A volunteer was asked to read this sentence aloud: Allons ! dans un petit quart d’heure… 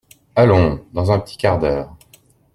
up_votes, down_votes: 2, 0